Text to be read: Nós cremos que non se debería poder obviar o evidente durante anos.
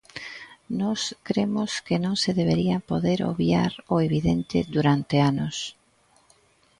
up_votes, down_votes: 2, 0